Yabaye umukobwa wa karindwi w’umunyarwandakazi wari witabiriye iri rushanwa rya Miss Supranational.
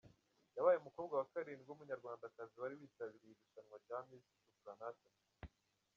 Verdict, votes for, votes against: rejected, 0, 2